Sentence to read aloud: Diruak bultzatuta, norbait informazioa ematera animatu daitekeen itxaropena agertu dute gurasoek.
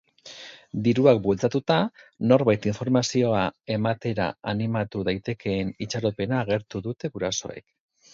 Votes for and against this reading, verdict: 4, 0, accepted